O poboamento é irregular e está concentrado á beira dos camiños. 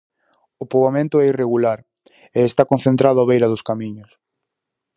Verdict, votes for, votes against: accepted, 4, 0